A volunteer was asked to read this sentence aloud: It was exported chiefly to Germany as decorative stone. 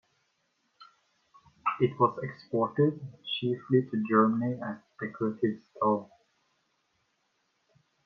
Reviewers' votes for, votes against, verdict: 2, 0, accepted